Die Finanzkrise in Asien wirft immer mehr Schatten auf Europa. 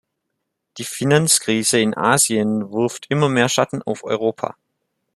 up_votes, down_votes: 3, 0